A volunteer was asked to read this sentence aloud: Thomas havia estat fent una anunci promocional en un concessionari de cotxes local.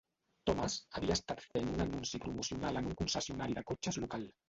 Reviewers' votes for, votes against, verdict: 0, 2, rejected